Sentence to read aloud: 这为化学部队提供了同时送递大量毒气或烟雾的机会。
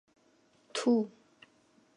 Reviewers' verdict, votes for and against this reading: rejected, 0, 4